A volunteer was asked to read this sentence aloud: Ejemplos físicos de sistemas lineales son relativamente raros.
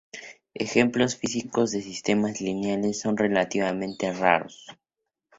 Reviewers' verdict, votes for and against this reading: accepted, 2, 0